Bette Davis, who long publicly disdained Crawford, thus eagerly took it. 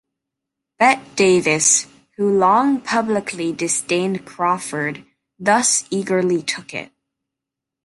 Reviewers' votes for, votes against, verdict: 1, 2, rejected